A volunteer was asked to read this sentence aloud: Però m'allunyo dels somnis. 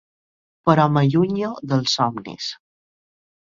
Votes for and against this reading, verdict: 2, 0, accepted